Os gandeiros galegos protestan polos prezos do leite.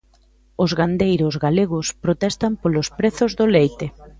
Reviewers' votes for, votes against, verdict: 1, 2, rejected